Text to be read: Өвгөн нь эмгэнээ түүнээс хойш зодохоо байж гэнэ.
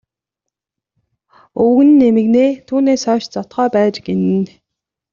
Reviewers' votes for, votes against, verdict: 2, 1, accepted